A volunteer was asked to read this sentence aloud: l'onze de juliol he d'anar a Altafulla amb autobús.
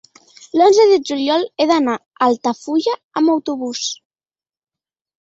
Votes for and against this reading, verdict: 2, 0, accepted